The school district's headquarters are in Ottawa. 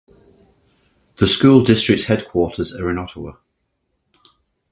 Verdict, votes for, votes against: rejected, 0, 3